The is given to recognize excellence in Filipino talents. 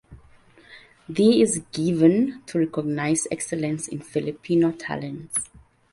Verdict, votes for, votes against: accepted, 2, 1